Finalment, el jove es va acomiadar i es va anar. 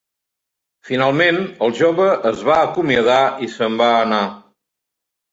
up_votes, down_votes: 0, 2